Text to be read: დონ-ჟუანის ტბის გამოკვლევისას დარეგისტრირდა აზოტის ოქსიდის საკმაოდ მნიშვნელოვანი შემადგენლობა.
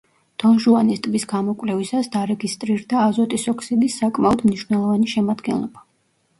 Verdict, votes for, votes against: rejected, 0, 2